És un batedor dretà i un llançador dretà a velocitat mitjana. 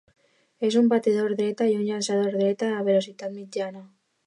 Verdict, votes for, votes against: rejected, 1, 2